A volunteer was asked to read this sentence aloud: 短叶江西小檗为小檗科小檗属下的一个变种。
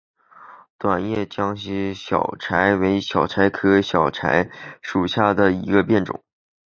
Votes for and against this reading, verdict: 0, 3, rejected